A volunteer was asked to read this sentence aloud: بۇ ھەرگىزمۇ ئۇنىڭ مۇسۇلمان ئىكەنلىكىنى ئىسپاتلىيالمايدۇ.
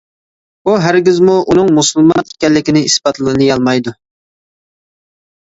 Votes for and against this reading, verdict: 0, 2, rejected